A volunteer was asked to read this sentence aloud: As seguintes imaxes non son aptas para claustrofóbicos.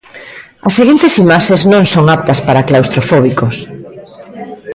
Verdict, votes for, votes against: accepted, 2, 0